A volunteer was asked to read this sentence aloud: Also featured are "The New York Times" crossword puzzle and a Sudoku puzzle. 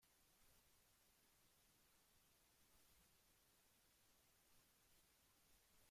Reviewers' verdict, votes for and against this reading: rejected, 0, 2